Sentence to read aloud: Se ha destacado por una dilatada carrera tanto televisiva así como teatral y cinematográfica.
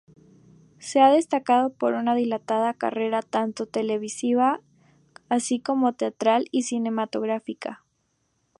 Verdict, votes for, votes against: accepted, 2, 0